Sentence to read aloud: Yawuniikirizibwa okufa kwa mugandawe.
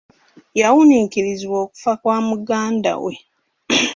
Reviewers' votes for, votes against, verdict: 2, 1, accepted